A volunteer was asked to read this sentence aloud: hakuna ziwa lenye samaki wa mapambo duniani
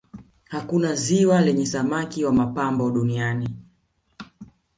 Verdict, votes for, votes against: accepted, 2, 0